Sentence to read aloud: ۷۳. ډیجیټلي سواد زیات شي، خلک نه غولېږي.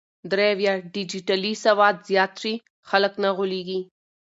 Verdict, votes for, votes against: rejected, 0, 2